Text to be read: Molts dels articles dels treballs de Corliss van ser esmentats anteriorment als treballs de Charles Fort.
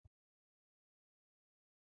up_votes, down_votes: 0, 2